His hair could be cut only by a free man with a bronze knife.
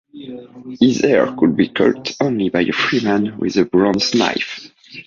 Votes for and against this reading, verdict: 2, 0, accepted